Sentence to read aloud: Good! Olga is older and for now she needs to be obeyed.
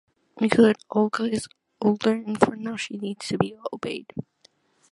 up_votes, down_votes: 3, 1